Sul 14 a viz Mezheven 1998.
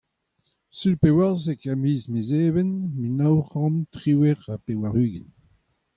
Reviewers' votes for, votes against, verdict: 0, 2, rejected